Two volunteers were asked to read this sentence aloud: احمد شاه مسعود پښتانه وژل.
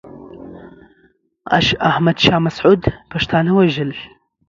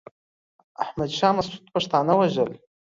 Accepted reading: first